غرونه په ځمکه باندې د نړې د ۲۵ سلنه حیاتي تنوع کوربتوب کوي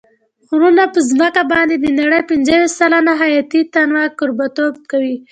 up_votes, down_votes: 0, 2